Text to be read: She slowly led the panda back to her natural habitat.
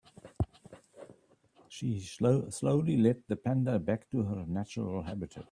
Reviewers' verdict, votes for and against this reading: rejected, 0, 2